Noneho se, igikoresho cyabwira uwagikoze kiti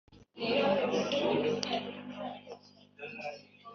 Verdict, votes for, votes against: rejected, 0, 3